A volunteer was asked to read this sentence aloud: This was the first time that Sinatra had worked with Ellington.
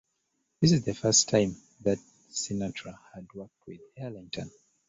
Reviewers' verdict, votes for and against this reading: accepted, 2, 1